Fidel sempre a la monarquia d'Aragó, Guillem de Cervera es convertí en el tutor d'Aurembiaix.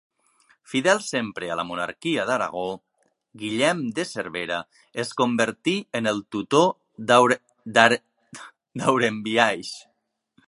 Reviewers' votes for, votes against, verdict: 0, 2, rejected